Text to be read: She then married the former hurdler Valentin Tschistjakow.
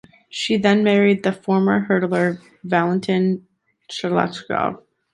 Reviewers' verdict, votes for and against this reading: rejected, 1, 2